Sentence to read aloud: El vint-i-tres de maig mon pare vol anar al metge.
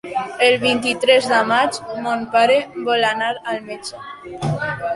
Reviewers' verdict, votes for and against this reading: accepted, 2, 1